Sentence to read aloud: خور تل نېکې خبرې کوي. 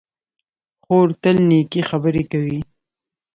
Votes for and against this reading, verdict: 2, 0, accepted